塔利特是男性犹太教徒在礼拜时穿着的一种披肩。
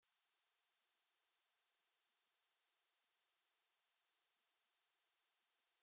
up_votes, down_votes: 0, 2